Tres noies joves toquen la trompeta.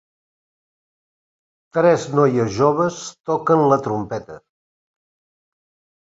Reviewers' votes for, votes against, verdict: 3, 0, accepted